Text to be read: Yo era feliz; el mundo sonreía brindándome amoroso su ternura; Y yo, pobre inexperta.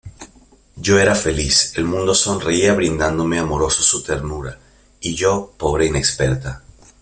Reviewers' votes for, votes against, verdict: 2, 0, accepted